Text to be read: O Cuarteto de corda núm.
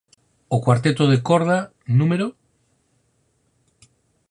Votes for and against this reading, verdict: 6, 2, accepted